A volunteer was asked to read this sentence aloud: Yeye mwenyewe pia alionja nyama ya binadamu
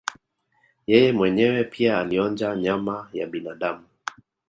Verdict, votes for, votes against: accepted, 2, 0